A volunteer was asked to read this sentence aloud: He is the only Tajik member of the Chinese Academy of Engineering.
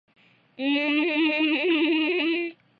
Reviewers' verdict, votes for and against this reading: rejected, 0, 2